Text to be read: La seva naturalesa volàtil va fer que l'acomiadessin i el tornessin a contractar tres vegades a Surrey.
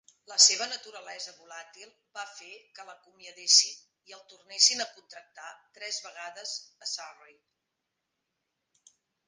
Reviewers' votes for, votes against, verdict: 1, 2, rejected